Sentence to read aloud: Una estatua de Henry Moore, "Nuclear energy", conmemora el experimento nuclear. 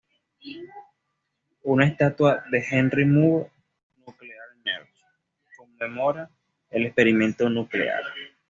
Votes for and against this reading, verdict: 0, 2, rejected